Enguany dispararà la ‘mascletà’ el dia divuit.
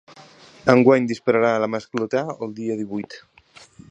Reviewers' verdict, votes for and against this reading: accepted, 4, 0